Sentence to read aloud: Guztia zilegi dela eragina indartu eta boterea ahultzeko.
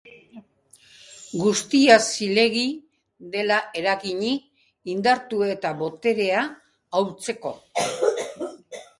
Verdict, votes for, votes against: rejected, 0, 2